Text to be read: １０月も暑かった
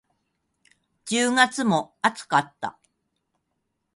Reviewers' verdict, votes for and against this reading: rejected, 0, 2